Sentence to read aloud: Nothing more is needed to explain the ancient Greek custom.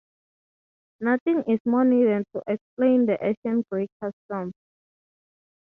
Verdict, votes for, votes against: rejected, 3, 6